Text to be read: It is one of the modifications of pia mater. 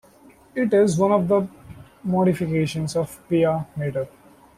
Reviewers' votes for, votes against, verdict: 1, 2, rejected